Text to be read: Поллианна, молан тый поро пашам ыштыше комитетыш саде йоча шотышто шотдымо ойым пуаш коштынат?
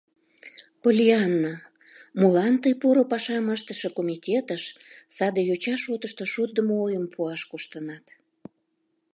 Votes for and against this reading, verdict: 2, 0, accepted